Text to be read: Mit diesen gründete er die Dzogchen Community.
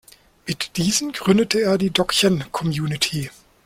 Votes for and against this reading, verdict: 1, 2, rejected